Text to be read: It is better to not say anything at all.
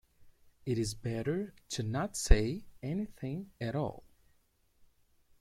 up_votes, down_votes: 2, 0